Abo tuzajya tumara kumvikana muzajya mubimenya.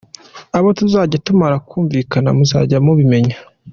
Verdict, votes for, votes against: accepted, 2, 0